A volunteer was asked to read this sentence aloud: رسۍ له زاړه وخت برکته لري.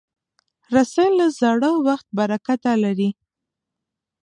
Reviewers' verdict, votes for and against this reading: rejected, 0, 2